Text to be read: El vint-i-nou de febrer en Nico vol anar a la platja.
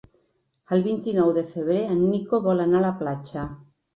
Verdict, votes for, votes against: accepted, 6, 0